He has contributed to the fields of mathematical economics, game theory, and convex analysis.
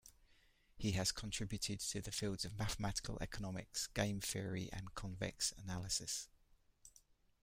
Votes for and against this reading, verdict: 2, 0, accepted